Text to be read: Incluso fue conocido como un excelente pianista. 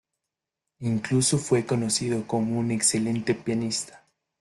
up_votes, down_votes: 2, 0